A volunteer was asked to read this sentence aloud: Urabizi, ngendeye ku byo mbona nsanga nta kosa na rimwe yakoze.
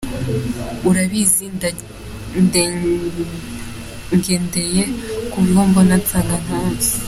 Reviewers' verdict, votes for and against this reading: rejected, 0, 4